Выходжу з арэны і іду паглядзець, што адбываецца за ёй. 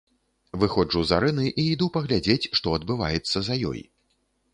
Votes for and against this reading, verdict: 2, 0, accepted